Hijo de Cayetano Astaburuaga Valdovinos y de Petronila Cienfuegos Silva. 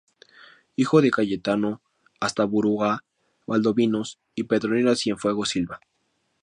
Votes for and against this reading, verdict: 0, 2, rejected